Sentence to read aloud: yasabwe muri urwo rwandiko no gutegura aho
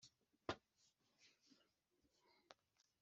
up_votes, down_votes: 1, 2